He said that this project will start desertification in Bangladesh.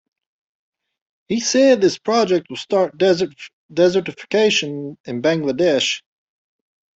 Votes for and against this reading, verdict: 1, 2, rejected